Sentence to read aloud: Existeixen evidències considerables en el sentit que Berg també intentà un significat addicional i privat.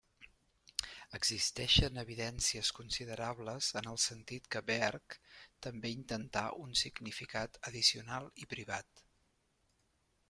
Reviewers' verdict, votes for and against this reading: accepted, 2, 0